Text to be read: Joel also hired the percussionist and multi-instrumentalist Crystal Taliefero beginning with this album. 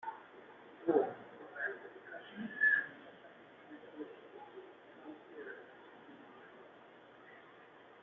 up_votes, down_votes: 0, 2